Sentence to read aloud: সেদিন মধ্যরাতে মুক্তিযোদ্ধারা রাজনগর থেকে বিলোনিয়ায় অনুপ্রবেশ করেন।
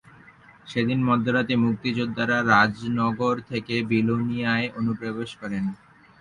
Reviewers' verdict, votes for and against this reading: accepted, 50, 20